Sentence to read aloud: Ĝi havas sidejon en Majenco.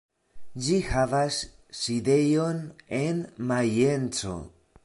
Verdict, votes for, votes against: accepted, 2, 0